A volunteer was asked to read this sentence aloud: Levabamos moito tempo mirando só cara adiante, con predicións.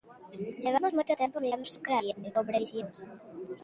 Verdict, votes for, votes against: rejected, 0, 2